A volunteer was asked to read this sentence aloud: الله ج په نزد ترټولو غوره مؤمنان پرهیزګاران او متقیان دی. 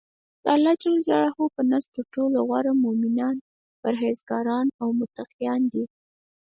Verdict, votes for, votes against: accepted, 4, 0